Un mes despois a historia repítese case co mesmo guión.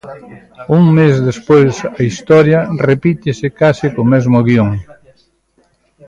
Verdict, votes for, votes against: rejected, 1, 2